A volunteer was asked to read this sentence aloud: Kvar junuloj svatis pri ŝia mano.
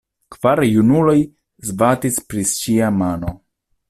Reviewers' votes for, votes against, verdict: 1, 2, rejected